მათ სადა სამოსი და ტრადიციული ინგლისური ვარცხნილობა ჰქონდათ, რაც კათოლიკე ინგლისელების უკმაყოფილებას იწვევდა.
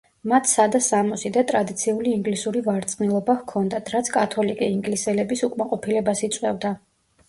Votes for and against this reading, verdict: 2, 0, accepted